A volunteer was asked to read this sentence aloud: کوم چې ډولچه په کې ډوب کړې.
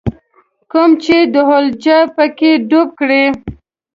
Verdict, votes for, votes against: rejected, 1, 2